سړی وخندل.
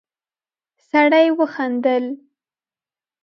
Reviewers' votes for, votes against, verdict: 2, 0, accepted